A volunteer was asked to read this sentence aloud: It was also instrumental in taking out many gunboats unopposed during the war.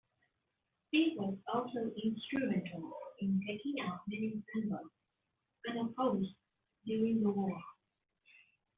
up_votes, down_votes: 1, 2